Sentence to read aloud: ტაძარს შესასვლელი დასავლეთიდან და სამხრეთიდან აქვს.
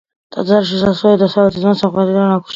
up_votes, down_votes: 2, 1